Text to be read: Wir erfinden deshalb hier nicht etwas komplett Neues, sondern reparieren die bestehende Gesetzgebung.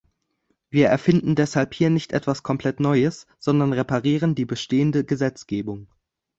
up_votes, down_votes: 2, 0